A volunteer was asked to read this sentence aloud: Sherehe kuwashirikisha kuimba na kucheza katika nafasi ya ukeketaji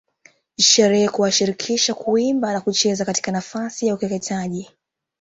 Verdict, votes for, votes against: accepted, 2, 1